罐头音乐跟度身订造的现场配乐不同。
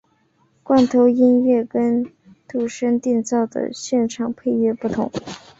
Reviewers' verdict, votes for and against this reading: accepted, 4, 1